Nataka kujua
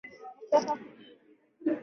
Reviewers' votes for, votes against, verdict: 0, 3, rejected